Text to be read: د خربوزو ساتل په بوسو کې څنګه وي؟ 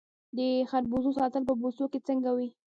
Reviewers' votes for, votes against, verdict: 2, 1, accepted